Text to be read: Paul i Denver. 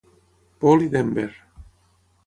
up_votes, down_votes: 6, 3